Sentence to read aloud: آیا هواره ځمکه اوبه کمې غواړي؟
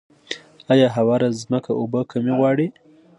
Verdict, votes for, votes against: accepted, 2, 0